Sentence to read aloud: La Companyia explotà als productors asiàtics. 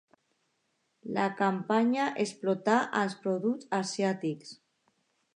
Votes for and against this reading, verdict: 0, 2, rejected